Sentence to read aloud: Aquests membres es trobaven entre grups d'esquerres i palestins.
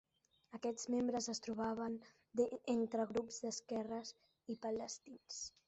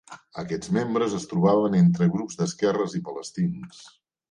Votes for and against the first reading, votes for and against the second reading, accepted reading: 0, 2, 2, 0, second